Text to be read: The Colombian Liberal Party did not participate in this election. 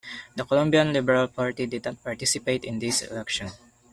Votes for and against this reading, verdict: 0, 2, rejected